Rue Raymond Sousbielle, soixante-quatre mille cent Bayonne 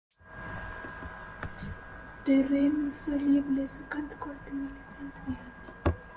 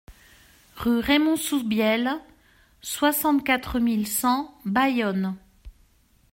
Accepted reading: second